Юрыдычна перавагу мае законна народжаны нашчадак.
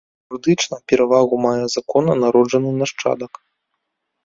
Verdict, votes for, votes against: accepted, 2, 1